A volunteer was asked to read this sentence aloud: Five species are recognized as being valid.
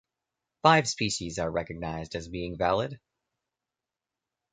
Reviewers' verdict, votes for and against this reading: accepted, 2, 0